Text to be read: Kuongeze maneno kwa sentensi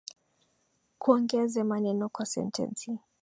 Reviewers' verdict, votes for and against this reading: accepted, 2, 0